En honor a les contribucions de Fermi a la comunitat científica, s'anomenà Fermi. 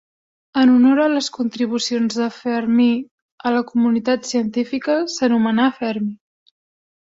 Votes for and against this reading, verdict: 1, 2, rejected